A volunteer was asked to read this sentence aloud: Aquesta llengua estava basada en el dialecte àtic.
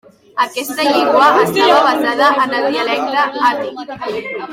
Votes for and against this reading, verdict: 0, 3, rejected